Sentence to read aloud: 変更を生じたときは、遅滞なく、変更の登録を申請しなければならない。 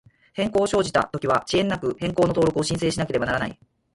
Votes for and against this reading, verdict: 0, 4, rejected